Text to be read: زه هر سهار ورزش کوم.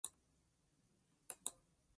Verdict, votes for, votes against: rejected, 0, 2